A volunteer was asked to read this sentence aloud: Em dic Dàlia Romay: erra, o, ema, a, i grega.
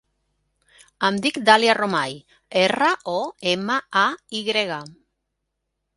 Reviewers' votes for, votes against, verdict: 3, 0, accepted